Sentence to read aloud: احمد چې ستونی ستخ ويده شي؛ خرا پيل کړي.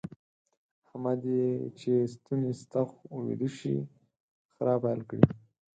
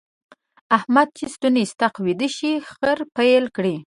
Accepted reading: first